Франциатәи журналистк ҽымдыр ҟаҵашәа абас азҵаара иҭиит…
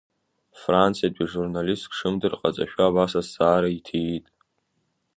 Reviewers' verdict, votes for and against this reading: accepted, 2, 1